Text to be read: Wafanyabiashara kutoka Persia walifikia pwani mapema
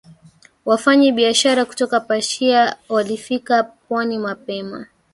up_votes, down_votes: 3, 1